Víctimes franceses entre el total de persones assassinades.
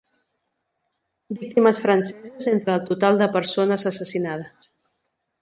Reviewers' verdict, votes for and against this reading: rejected, 1, 2